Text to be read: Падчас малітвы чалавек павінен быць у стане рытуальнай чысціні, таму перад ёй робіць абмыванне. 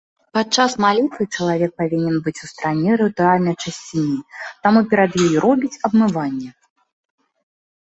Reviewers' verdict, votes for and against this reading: accepted, 2, 0